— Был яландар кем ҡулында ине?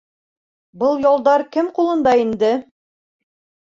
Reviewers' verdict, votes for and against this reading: rejected, 1, 2